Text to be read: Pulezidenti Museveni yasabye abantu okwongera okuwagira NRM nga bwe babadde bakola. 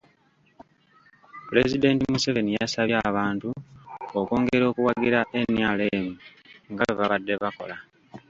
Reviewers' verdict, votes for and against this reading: rejected, 0, 2